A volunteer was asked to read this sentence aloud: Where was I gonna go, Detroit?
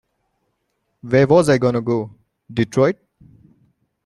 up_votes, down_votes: 2, 1